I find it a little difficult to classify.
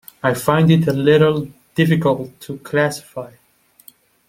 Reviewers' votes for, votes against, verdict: 2, 0, accepted